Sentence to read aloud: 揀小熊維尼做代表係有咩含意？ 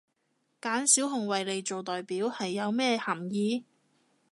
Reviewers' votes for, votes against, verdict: 2, 0, accepted